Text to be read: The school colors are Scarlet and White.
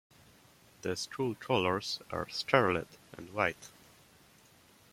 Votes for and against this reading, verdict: 2, 0, accepted